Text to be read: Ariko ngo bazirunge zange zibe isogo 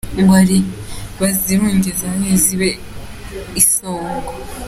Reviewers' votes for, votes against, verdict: 0, 2, rejected